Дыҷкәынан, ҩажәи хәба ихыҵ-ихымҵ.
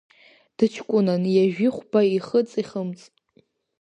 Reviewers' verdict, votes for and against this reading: accepted, 2, 0